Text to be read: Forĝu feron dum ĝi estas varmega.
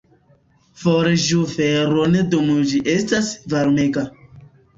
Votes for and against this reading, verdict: 0, 2, rejected